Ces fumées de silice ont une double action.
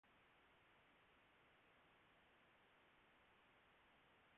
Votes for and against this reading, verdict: 0, 2, rejected